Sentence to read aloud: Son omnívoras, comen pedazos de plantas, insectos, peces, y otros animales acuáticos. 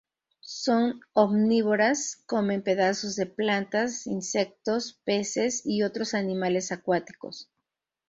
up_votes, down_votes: 2, 0